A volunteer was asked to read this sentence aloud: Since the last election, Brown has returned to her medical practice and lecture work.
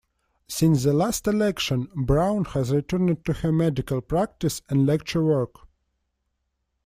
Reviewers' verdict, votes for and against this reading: accepted, 2, 1